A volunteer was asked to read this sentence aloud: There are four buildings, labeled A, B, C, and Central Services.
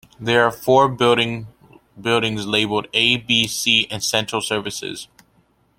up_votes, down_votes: 1, 2